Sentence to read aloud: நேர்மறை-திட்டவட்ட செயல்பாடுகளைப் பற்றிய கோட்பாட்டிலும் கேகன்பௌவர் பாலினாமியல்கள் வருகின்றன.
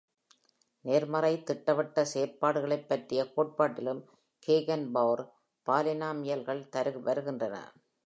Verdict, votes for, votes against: accepted, 2, 0